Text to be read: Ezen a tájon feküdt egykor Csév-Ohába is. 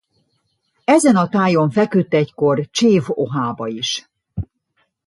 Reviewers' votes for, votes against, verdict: 2, 0, accepted